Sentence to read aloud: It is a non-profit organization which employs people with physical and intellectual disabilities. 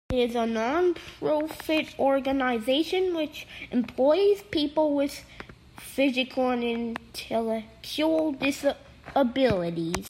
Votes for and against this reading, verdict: 1, 2, rejected